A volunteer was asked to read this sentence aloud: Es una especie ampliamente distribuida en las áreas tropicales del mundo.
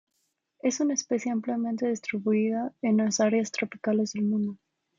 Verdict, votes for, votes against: accepted, 2, 0